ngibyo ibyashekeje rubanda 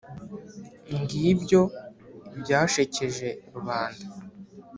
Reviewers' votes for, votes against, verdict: 5, 0, accepted